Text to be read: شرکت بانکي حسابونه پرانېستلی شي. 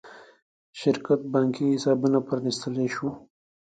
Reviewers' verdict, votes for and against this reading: rejected, 1, 2